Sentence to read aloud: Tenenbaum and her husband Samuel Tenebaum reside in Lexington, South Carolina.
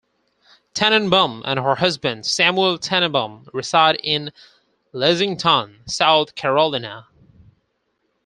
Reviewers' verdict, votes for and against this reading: rejected, 2, 4